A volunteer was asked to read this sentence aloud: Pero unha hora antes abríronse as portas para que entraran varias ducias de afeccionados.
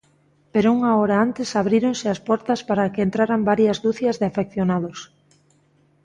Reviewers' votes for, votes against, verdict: 2, 0, accepted